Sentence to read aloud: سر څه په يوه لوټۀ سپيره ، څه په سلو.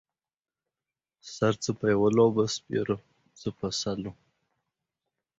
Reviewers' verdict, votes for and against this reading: rejected, 0, 2